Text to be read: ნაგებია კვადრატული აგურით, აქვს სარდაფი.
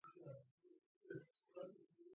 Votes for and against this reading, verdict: 0, 2, rejected